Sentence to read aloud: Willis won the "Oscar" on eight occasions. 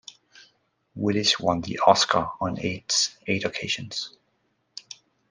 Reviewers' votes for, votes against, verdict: 1, 2, rejected